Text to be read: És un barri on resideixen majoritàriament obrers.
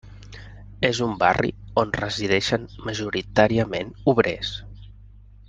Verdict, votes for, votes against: accepted, 3, 0